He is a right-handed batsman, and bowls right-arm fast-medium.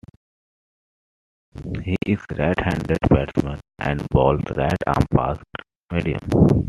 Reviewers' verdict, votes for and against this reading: accepted, 2, 0